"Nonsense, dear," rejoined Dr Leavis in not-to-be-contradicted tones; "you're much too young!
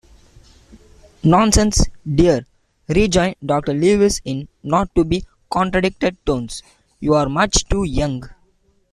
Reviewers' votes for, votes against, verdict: 2, 0, accepted